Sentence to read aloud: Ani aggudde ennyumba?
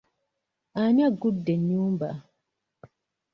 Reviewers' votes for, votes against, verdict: 2, 0, accepted